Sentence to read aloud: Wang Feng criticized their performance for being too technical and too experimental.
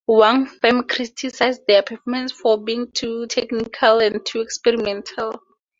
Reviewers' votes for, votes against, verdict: 2, 0, accepted